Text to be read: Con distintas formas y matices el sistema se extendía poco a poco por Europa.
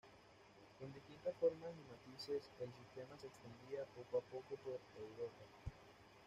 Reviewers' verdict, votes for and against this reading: rejected, 1, 2